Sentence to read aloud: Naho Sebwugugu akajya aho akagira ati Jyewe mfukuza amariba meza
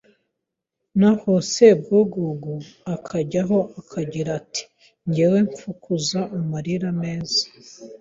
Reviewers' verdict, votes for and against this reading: rejected, 0, 3